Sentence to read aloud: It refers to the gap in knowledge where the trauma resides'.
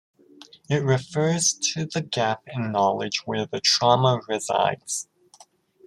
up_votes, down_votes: 2, 0